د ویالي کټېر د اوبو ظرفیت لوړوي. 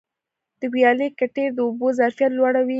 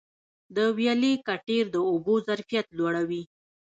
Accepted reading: first